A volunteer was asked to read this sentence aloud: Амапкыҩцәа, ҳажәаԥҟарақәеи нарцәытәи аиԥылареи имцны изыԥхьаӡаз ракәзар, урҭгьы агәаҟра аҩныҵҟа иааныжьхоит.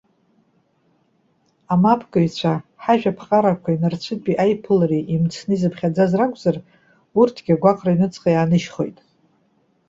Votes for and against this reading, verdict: 2, 0, accepted